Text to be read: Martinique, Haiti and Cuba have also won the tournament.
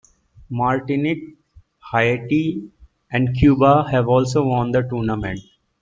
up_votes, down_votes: 1, 2